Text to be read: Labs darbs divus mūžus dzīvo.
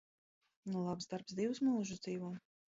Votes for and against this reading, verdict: 1, 2, rejected